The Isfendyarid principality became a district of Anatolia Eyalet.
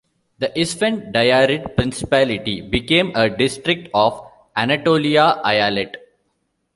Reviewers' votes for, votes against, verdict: 1, 2, rejected